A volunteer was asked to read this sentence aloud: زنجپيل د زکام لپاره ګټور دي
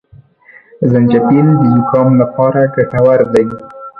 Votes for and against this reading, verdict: 0, 3, rejected